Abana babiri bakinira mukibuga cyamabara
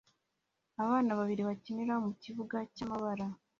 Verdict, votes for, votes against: accepted, 2, 0